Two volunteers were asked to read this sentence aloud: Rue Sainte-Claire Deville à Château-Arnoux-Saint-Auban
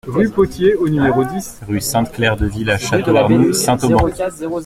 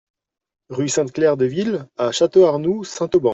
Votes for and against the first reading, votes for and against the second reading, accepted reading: 0, 2, 2, 0, second